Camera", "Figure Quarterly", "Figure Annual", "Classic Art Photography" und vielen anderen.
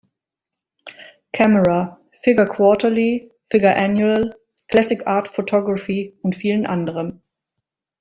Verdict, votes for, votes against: accepted, 2, 0